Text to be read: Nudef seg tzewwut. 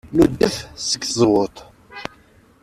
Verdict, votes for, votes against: rejected, 1, 2